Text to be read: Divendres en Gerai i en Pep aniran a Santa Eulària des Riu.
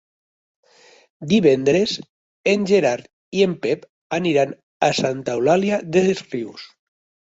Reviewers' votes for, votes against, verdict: 1, 3, rejected